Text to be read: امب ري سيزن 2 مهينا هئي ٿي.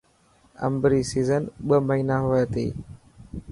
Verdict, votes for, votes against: rejected, 0, 2